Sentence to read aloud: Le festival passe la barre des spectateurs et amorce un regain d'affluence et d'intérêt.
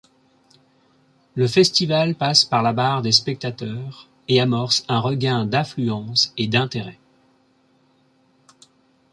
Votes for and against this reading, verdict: 1, 2, rejected